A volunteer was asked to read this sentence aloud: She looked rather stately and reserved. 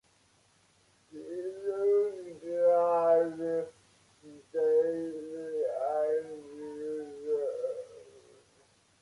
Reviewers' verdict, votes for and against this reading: rejected, 0, 2